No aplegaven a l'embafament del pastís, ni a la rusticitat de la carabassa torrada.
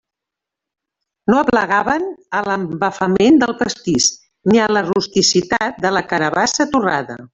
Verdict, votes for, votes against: accepted, 2, 1